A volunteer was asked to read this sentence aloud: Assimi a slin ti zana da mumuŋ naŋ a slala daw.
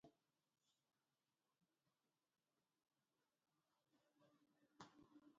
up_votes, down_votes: 0, 2